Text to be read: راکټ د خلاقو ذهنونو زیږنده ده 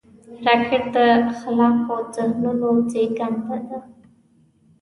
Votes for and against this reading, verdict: 1, 2, rejected